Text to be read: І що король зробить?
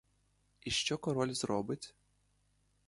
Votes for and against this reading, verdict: 1, 2, rejected